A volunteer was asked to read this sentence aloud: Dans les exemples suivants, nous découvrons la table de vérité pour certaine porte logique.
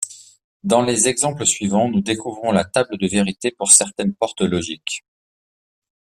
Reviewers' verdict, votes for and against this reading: accepted, 2, 0